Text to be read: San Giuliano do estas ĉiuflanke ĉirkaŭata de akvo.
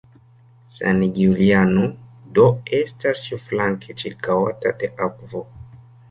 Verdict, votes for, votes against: accepted, 2, 1